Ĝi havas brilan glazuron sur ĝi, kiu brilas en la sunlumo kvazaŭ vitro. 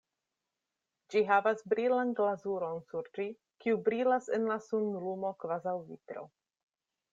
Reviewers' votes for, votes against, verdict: 2, 0, accepted